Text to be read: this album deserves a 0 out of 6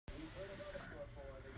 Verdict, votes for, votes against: rejected, 0, 2